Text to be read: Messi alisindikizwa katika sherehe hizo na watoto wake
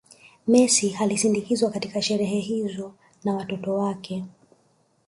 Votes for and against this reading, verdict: 1, 2, rejected